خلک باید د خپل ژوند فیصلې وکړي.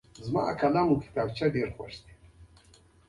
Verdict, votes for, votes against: accepted, 2, 0